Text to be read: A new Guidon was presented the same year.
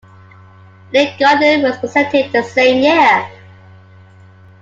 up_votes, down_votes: 0, 2